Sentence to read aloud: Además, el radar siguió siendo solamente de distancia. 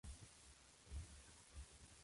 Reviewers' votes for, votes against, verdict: 0, 2, rejected